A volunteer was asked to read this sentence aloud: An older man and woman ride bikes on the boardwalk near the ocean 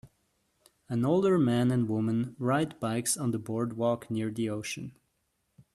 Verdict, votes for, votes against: accepted, 2, 0